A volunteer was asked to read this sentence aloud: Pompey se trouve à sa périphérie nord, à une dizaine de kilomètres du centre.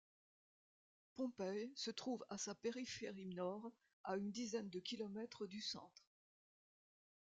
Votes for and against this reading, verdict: 2, 0, accepted